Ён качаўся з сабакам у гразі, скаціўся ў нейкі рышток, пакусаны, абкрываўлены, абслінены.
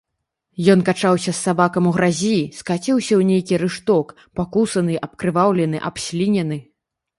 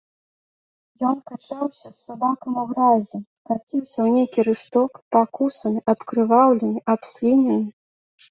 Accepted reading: first